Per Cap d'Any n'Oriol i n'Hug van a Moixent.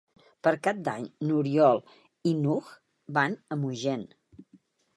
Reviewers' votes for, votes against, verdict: 2, 3, rejected